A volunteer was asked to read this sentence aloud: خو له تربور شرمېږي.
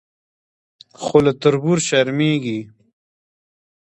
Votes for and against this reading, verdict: 2, 0, accepted